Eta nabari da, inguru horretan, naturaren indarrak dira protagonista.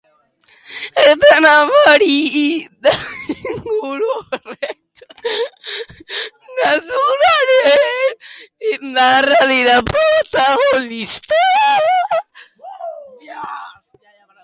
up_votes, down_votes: 0, 2